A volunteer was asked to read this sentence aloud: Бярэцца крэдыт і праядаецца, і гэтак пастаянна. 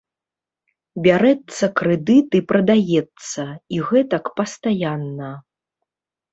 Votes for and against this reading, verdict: 0, 2, rejected